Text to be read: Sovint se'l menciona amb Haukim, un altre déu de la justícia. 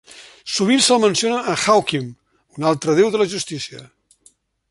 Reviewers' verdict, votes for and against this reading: rejected, 1, 2